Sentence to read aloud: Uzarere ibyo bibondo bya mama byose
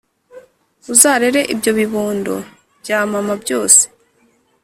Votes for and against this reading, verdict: 2, 0, accepted